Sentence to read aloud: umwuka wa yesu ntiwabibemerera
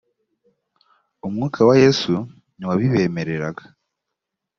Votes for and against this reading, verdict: 0, 2, rejected